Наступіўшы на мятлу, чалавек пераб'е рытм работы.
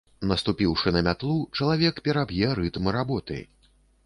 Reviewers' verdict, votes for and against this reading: accepted, 2, 0